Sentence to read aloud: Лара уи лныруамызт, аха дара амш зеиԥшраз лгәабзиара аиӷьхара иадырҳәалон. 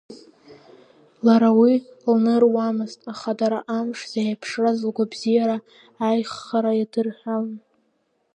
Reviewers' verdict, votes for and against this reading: accepted, 2, 1